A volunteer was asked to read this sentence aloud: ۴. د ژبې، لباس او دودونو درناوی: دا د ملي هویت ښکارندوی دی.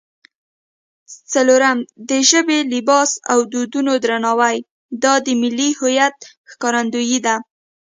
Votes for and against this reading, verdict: 0, 2, rejected